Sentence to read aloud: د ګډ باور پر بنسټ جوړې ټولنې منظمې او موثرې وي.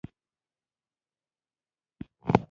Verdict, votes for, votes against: rejected, 1, 2